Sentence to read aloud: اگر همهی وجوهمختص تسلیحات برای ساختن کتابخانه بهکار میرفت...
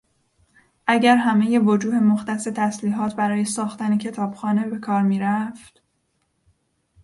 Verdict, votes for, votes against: accepted, 2, 0